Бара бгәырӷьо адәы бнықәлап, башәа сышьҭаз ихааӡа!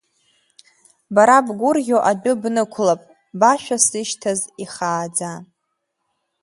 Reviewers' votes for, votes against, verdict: 3, 1, accepted